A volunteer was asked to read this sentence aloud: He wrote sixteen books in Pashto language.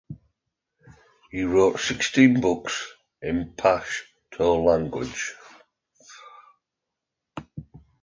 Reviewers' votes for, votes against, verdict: 2, 0, accepted